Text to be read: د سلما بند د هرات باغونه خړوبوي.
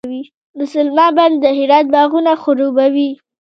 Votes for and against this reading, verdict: 1, 2, rejected